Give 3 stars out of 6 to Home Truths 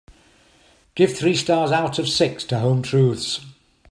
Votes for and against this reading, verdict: 0, 2, rejected